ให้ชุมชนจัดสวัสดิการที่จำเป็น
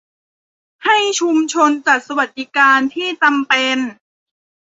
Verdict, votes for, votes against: accepted, 2, 0